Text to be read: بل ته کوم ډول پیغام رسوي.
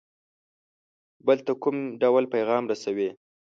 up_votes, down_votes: 2, 0